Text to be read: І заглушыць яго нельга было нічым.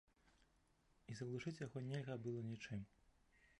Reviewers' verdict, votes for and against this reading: rejected, 1, 2